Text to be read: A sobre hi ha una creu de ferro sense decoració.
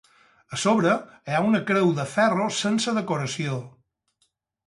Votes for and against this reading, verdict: 2, 4, rejected